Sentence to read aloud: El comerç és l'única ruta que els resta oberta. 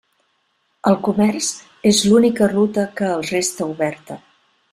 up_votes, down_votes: 2, 0